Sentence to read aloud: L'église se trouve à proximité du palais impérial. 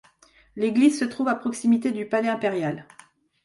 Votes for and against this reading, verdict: 2, 0, accepted